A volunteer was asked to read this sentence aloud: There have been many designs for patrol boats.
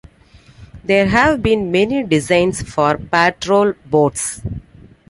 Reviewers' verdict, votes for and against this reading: accepted, 2, 1